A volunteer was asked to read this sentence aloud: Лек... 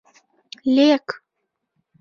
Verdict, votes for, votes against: accepted, 2, 0